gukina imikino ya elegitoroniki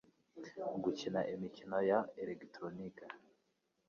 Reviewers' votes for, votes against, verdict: 2, 0, accepted